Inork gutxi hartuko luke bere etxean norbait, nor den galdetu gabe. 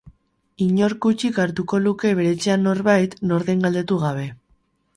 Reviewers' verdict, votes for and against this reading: rejected, 2, 2